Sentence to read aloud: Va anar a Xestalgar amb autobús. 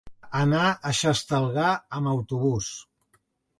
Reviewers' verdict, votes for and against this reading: rejected, 1, 2